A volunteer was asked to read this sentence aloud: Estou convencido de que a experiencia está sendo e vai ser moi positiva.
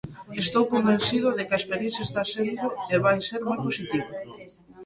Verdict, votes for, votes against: accepted, 3, 0